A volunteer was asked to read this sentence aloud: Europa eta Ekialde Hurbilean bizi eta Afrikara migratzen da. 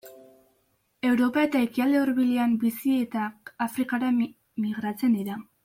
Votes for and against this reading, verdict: 1, 2, rejected